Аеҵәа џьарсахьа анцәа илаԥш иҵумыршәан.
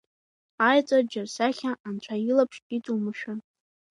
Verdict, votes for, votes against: accepted, 2, 0